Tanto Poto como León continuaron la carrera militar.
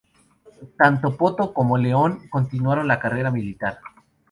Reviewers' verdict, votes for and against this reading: rejected, 2, 2